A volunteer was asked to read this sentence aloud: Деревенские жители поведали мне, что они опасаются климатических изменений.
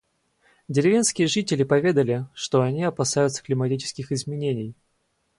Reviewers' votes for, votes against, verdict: 2, 4, rejected